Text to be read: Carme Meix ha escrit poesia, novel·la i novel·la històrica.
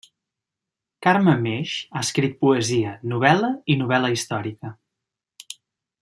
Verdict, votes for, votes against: rejected, 0, 2